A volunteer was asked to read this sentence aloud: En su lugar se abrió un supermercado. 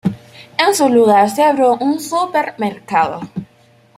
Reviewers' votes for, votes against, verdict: 2, 0, accepted